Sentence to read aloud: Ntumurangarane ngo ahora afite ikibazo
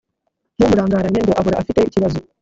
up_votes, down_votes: 0, 2